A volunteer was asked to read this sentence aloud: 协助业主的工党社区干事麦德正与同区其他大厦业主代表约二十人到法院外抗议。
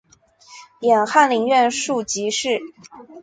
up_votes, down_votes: 0, 3